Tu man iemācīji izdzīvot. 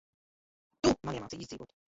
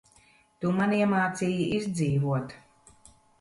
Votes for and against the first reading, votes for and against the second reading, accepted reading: 0, 2, 2, 0, second